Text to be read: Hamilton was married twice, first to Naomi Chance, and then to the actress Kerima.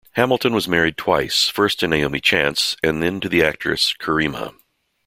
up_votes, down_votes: 2, 0